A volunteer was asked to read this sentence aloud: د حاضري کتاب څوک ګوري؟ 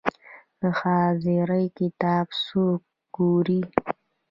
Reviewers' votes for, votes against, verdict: 0, 2, rejected